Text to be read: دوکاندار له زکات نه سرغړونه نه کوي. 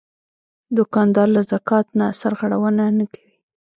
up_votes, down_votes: 1, 2